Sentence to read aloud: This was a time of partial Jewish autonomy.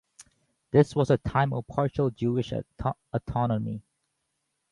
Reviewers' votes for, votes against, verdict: 0, 2, rejected